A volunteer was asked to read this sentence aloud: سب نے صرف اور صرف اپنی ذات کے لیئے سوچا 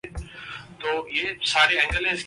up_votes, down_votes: 1, 2